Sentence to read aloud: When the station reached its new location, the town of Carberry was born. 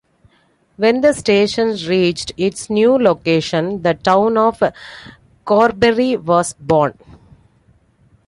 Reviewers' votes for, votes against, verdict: 0, 2, rejected